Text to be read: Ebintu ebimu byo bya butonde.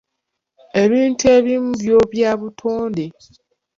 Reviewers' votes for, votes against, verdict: 0, 2, rejected